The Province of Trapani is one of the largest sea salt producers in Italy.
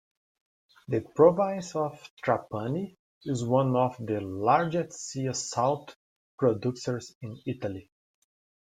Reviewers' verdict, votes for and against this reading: accepted, 2, 0